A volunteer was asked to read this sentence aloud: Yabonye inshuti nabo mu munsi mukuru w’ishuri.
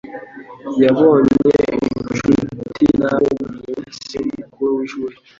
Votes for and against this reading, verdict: 1, 2, rejected